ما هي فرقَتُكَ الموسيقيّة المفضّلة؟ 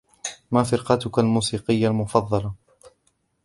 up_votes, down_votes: 0, 2